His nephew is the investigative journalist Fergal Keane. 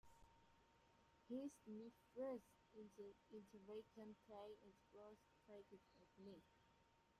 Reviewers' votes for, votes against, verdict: 0, 2, rejected